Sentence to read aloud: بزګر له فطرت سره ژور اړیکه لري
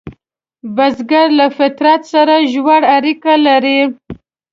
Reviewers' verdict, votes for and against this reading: accepted, 3, 0